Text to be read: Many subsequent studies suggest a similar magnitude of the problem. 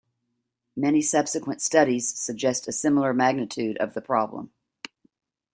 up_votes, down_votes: 2, 0